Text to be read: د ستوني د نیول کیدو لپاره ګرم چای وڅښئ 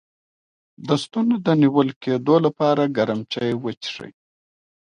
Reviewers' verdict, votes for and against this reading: rejected, 0, 2